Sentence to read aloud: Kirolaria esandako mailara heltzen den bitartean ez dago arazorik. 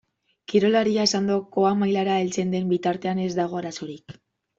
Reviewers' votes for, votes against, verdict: 1, 2, rejected